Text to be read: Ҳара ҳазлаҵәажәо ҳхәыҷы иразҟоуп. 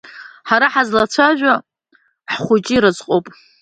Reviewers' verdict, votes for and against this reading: accepted, 2, 0